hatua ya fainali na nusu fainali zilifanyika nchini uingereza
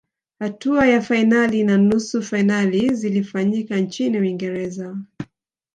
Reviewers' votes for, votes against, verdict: 1, 2, rejected